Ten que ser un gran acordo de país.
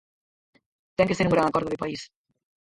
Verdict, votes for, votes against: rejected, 2, 4